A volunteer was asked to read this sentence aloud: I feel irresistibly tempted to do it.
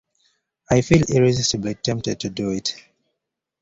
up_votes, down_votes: 2, 0